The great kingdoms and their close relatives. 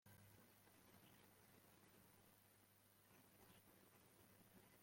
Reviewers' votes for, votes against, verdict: 1, 2, rejected